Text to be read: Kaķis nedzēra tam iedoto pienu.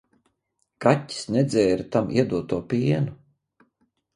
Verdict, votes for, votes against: accepted, 2, 0